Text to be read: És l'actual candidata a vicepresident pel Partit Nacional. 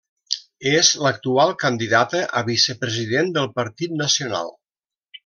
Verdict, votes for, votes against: rejected, 0, 2